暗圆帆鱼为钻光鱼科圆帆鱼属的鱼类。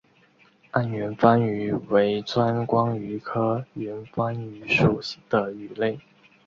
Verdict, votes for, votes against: accepted, 3, 0